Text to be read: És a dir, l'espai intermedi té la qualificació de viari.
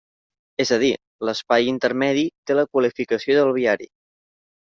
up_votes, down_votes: 0, 2